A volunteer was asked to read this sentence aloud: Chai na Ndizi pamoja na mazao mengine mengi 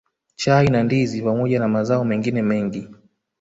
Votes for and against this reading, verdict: 1, 2, rejected